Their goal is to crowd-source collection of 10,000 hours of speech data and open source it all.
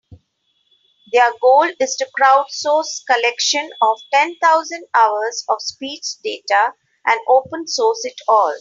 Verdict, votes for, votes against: rejected, 0, 2